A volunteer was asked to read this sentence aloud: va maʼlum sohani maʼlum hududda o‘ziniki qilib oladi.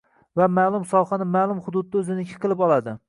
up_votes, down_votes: 2, 0